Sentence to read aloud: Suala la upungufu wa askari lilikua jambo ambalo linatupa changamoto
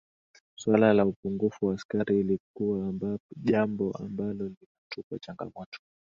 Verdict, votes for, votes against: accepted, 2, 0